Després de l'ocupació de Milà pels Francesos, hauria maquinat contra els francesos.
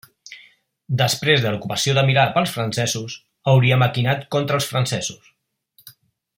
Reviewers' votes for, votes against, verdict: 2, 1, accepted